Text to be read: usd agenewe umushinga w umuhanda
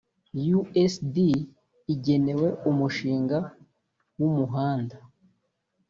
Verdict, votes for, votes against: rejected, 0, 2